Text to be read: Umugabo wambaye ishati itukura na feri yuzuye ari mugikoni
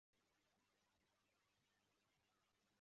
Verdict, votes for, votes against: rejected, 0, 2